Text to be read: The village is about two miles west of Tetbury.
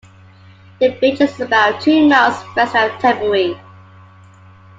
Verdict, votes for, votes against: accepted, 2, 1